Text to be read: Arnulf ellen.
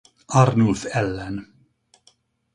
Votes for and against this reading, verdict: 4, 0, accepted